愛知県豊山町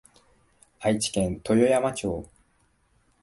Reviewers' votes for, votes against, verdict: 3, 0, accepted